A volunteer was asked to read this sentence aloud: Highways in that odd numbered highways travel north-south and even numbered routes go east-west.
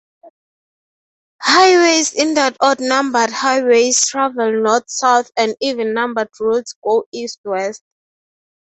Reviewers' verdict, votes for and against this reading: accepted, 3, 0